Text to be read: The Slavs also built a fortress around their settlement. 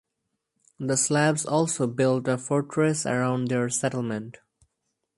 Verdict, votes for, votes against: accepted, 2, 0